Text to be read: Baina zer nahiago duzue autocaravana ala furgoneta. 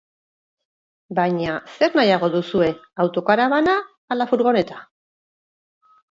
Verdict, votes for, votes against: accepted, 4, 2